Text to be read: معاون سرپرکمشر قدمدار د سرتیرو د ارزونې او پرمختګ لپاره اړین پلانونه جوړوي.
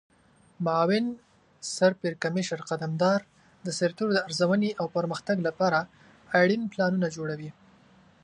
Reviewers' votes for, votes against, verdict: 2, 0, accepted